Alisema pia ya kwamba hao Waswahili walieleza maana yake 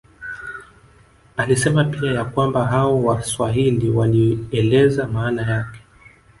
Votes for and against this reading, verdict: 0, 2, rejected